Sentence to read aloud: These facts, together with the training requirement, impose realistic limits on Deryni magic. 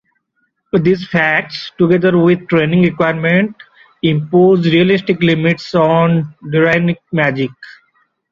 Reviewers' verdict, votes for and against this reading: rejected, 0, 2